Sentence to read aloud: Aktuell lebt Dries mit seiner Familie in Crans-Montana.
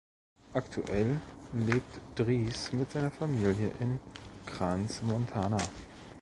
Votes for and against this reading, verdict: 2, 0, accepted